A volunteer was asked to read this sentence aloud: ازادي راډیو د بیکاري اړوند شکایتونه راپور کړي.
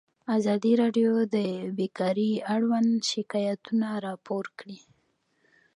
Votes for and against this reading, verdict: 1, 2, rejected